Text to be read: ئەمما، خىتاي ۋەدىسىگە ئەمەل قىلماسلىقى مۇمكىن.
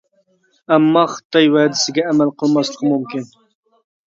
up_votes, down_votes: 2, 0